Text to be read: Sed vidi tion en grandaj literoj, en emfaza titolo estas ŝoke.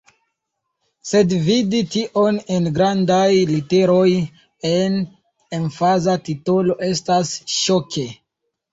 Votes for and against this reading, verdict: 2, 0, accepted